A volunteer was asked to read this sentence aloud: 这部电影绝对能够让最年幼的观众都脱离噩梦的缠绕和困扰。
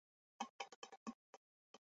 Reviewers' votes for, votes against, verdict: 0, 3, rejected